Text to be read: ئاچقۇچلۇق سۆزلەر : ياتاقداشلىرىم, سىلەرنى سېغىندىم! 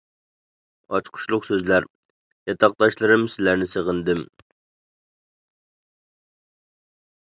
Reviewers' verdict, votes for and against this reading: accepted, 3, 0